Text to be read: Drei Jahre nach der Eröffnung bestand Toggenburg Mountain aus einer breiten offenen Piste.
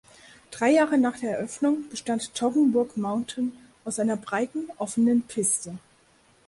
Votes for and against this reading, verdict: 4, 0, accepted